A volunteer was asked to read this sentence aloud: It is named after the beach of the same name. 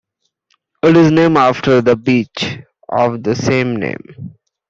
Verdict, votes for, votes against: accepted, 2, 0